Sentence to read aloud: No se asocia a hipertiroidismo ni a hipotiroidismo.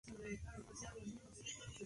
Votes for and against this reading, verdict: 0, 2, rejected